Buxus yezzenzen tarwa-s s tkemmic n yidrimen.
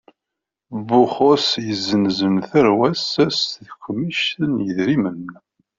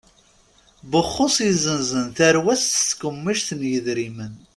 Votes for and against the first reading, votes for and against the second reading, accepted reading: 1, 2, 2, 0, second